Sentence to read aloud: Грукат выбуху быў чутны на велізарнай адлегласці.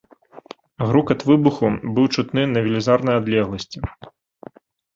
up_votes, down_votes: 2, 0